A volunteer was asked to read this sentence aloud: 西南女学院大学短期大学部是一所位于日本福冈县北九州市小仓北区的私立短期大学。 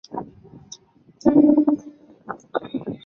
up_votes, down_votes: 0, 2